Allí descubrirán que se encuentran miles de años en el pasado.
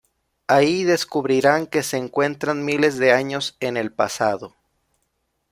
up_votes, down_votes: 1, 2